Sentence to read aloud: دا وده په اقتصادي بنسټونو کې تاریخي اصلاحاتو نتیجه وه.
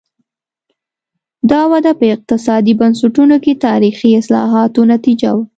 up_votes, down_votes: 2, 0